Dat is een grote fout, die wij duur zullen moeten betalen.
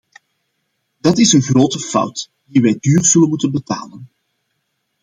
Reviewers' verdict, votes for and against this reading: accepted, 2, 0